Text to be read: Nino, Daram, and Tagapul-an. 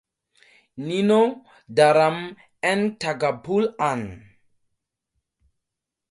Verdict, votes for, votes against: accepted, 4, 0